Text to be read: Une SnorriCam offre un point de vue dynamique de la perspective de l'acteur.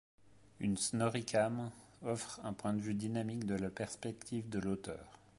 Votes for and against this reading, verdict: 0, 2, rejected